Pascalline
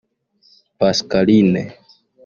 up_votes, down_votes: 0, 2